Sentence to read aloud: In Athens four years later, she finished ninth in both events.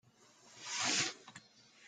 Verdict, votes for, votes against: rejected, 0, 2